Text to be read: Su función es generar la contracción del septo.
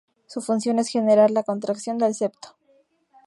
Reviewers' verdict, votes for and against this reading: accepted, 2, 0